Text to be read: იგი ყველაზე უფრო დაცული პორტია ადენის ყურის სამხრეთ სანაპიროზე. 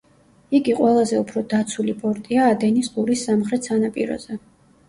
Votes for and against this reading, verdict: 1, 2, rejected